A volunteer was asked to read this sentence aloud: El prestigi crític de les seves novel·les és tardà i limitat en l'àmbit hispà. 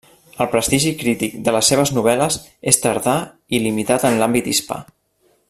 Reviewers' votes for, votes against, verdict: 3, 0, accepted